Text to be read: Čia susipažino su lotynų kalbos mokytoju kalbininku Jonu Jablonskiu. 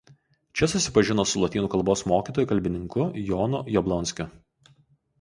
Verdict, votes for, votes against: accepted, 2, 0